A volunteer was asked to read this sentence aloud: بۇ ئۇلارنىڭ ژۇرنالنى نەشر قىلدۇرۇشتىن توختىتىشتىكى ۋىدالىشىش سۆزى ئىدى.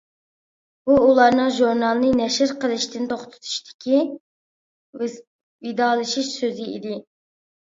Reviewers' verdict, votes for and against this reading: rejected, 0, 2